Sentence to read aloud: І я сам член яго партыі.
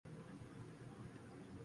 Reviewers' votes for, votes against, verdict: 1, 2, rejected